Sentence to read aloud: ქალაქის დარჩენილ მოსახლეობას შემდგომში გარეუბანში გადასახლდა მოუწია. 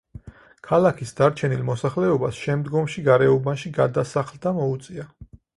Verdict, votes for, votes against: accepted, 4, 0